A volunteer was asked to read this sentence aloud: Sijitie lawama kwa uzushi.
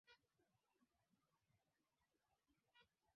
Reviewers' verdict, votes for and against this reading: rejected, 0, 2